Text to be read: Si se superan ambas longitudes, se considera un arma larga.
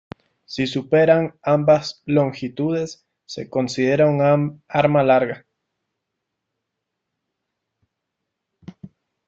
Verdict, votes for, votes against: rejected, 1, 2